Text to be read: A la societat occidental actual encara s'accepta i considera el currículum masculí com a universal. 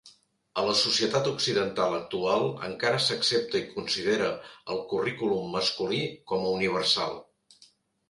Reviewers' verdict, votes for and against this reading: accepted, 3, 0